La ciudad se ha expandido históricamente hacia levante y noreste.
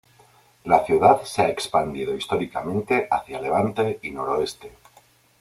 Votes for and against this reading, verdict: 1, 2, rejected